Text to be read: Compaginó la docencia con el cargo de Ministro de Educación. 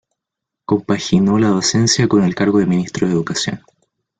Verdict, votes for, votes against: accepted, 2, 0